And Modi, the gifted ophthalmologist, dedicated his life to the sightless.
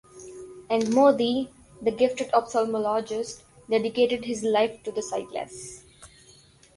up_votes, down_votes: 0, 2